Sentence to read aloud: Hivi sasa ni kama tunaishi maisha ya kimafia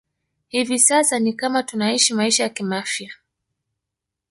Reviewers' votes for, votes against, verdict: 0, 2, rejected